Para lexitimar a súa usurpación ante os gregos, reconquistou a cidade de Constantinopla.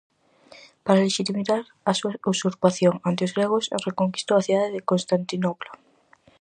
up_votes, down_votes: 0, 4